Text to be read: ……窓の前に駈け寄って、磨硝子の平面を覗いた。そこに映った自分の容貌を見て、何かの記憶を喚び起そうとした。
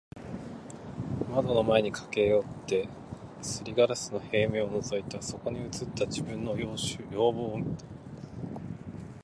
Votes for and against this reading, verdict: 0, 3, rejected